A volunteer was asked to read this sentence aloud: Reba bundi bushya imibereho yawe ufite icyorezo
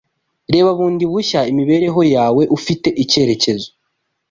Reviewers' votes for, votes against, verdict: 1, 2, rejected